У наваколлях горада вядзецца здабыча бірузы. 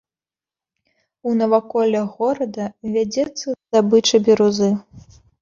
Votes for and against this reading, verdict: 0, 2, rejected